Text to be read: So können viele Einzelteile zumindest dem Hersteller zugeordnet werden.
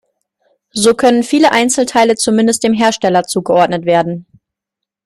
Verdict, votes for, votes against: accepted, 2, 0